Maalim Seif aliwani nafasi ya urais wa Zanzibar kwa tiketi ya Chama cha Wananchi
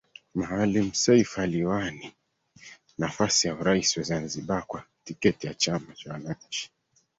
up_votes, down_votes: 2, 1